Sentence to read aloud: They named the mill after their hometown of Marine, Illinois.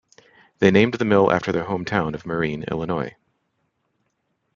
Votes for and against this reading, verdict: 1, 2, rejected